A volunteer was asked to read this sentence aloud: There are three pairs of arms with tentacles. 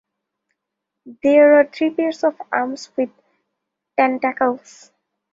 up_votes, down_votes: 1, 2